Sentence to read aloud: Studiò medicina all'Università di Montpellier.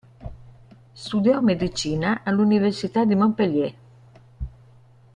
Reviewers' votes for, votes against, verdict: 1, 2, rejected